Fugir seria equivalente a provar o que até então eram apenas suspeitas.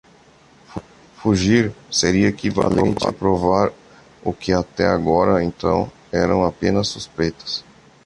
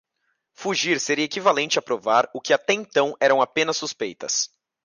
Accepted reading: second